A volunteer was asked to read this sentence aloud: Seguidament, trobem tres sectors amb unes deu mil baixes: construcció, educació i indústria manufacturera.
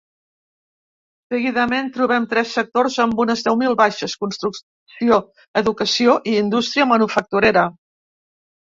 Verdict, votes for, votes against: rejected, 1, 2